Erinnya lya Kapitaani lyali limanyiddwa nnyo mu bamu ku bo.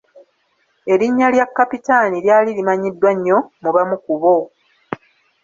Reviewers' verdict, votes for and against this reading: accepted, 2, 0